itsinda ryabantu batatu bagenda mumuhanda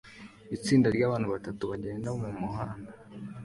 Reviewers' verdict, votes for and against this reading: accepted, 2, 0